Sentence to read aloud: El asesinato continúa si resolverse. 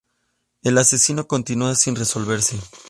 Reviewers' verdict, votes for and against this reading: rejected, 0, 2